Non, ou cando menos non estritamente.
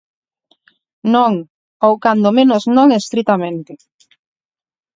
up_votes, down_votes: 4, 0